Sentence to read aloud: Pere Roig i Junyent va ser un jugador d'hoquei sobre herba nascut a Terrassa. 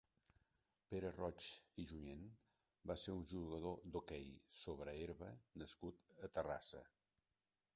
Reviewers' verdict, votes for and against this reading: accepted, 2, 0